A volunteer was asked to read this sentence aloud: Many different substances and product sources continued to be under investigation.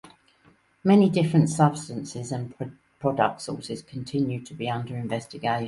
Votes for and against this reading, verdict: 0, 2, rejected